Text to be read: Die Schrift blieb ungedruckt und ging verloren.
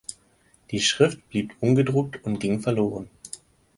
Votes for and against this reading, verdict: 4, 0, accepted